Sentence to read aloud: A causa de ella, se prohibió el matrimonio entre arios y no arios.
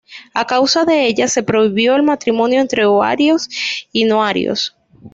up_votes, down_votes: 1, 2